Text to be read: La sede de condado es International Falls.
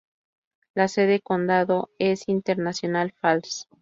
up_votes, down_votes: 0, 2